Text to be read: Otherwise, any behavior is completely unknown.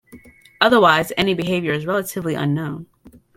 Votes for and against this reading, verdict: 1, 2, rejected